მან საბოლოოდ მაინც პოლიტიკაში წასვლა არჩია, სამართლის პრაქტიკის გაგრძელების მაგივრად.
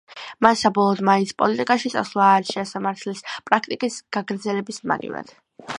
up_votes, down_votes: 2, 0